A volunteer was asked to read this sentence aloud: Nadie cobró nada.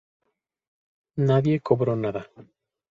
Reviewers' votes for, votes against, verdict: 2, 0, accepted